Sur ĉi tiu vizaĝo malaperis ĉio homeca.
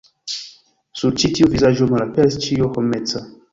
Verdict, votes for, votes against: accepted, 2, 0